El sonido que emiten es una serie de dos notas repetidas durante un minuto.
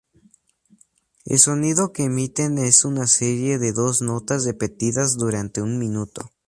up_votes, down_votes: 2, 0